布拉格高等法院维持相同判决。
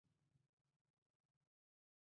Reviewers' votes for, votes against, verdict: 0, 4, rejected